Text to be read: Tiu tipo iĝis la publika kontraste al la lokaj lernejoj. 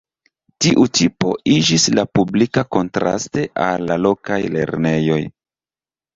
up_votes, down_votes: 2, 3